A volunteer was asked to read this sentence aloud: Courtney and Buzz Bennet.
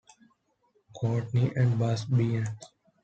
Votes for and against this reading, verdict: 0, 3, rejected